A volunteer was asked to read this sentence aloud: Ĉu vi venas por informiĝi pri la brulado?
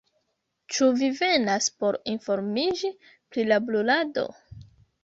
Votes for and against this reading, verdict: 1, 2, rejected